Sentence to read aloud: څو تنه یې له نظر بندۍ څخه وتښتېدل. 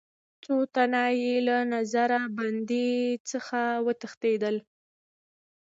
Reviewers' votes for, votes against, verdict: 1, 2, rejected